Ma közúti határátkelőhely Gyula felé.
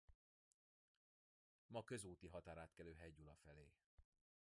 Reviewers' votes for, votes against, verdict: 0, 2, rejected